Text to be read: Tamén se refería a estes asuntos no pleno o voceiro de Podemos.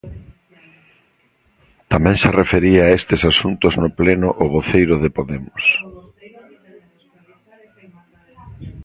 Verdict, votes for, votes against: rejected, 0, 2